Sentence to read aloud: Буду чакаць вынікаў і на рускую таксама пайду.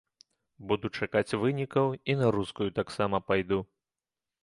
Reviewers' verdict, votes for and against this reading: accepted, 2, 0